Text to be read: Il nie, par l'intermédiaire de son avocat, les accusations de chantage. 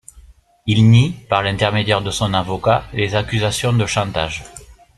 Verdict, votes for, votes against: accepted, 2, 0